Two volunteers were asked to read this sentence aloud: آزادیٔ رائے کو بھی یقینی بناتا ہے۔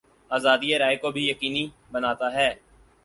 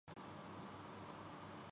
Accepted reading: first